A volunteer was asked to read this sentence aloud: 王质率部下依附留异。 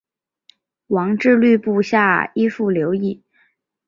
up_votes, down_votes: 10, 0